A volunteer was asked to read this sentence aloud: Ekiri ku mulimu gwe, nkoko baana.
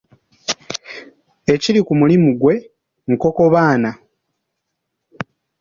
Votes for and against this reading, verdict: 3, 0, accepted